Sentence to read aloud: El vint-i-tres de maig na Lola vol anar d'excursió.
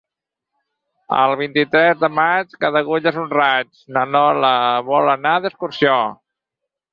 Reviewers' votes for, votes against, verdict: 0, 4, rejected